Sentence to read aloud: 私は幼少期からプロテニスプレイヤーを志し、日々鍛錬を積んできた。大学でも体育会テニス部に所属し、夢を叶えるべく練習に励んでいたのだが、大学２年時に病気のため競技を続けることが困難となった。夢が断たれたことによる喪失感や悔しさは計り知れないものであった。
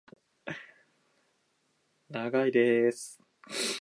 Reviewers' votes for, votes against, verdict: 0, 2, rejected